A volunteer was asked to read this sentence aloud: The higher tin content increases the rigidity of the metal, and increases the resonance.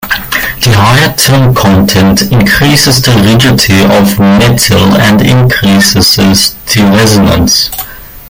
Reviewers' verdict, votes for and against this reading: rejected, 0, 2